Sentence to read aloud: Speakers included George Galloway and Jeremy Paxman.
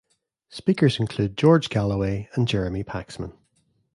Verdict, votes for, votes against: rejected, 1, 2